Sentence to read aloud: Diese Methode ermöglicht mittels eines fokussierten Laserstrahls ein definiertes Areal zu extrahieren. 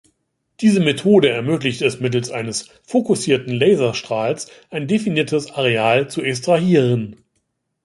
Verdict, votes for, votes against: rejected, 0, 2